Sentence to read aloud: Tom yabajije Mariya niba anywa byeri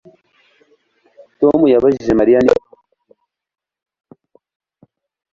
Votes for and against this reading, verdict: 1, 2, rejected